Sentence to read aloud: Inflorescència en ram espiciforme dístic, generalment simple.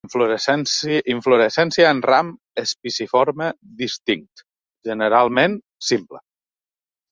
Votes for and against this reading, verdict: 1, 2, rejected